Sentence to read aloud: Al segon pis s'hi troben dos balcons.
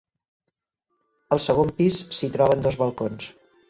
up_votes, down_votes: 2, 0